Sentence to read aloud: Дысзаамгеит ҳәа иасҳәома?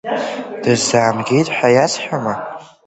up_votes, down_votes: 1, 2